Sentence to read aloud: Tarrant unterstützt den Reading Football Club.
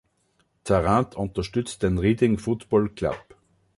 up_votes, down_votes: 2, 0